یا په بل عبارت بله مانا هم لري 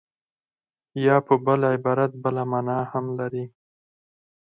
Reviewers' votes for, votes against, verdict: 4, 0, accepted